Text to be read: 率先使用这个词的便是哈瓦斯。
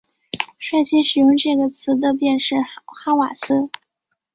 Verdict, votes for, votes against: accepted, 3, 0